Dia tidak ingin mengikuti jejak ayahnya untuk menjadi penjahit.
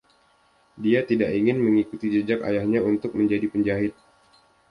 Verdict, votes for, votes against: accepted, 2, 0